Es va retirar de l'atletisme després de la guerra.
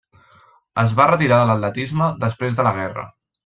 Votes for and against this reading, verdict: 3, 0, accepted